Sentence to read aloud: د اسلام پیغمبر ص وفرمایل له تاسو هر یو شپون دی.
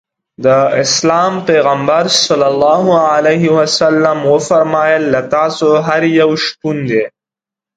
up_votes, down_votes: 2, 0